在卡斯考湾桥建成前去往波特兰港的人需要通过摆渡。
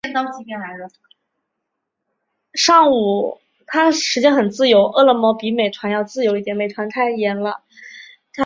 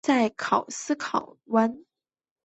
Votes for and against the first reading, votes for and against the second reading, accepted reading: 0, 2, 2, 0, second